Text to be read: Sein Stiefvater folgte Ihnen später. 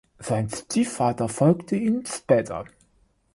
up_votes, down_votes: 2, 3